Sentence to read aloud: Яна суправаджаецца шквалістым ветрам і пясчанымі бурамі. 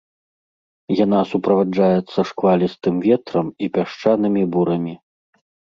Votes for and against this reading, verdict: 2, 0, accepted